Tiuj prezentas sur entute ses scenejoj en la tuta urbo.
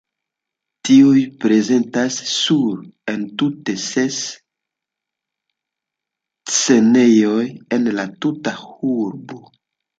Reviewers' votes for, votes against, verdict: 2, 0, accepted